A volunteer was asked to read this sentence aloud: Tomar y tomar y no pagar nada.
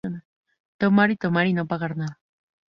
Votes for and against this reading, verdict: 2, 0, accepted